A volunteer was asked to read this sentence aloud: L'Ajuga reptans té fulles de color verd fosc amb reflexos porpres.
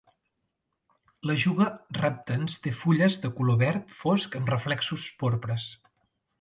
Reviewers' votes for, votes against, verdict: 2, 0, accepted